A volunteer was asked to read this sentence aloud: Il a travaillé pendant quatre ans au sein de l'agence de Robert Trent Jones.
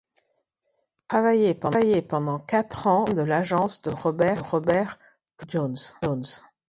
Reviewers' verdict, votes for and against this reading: rejected, 0, 2